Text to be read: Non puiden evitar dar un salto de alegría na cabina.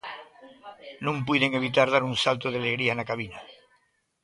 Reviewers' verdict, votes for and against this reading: accepted, 2, 0